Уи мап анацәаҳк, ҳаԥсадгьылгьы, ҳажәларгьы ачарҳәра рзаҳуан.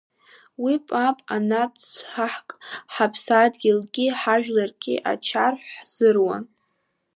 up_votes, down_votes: 2, 3